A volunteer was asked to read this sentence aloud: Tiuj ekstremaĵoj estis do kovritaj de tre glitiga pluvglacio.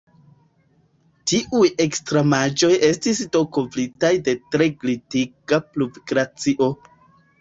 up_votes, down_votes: 2, 1